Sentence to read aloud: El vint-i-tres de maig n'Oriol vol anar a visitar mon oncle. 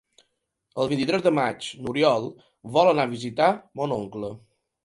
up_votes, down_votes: 2, 0